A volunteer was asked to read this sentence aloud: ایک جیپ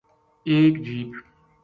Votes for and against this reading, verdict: 2, 0, accepted